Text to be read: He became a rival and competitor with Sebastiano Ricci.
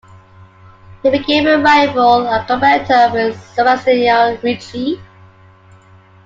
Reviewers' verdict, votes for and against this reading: accepted, 2, 1